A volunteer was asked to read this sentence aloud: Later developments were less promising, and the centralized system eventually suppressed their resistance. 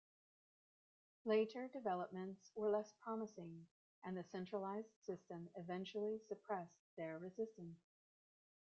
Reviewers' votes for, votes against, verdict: 1, 2, rejected